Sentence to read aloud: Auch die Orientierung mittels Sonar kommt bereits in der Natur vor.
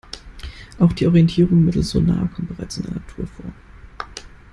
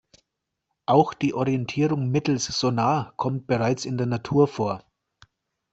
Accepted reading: second